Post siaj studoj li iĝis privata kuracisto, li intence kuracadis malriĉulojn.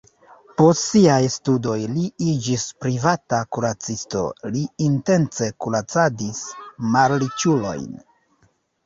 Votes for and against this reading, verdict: 1, 2, rejected